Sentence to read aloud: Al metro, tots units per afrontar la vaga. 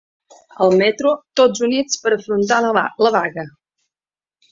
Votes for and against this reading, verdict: 1, 2, rejected